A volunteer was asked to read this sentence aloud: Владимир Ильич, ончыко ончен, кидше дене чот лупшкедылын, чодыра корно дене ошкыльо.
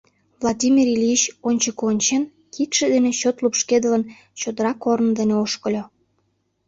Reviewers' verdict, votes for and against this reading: accepted, 2, 0